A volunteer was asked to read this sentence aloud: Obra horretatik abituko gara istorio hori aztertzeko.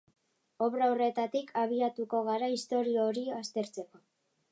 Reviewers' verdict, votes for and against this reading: accepted, 2, 1